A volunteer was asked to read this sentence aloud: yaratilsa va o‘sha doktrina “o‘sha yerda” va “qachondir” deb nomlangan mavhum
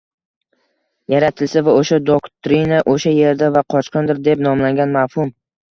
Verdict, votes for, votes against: accepted, 2, 1